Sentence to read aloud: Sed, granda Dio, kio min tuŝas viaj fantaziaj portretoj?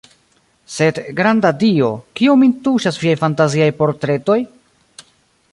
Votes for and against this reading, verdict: 2, 0, accepted